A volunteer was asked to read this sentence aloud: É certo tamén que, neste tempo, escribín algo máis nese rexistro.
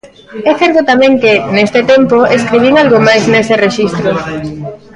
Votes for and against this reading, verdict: 0, 2, rejected